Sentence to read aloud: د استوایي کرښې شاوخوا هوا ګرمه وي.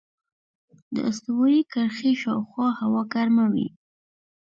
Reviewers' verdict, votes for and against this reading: rejected, 0, 2